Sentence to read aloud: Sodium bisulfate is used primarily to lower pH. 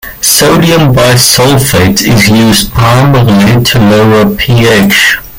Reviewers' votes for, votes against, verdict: 0, 2, rejected